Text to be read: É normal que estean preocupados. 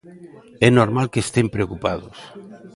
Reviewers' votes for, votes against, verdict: 0, 2, rejected